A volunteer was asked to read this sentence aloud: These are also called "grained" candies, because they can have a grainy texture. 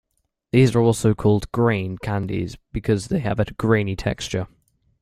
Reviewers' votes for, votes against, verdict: 0, 2, rejected